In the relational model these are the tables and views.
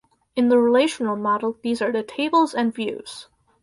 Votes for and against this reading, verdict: 2, 0, accepted